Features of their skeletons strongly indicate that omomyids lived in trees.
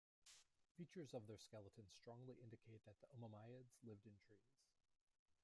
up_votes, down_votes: 0, 2